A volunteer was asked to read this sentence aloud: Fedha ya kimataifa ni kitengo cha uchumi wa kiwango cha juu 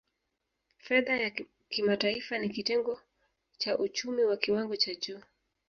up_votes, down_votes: 1, 2